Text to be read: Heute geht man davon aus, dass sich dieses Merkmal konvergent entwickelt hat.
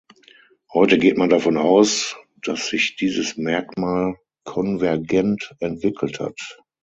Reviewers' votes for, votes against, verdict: 6, 0, accepted